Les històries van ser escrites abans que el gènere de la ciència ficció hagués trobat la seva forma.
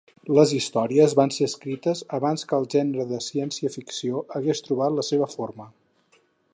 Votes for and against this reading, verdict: 2, 4, rejected